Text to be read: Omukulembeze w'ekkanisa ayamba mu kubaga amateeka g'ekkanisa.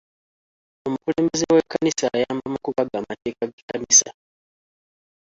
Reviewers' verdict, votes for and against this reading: rejected, 0, 2